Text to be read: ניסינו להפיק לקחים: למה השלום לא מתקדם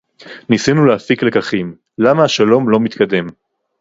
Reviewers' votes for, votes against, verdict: 2, 0, accepted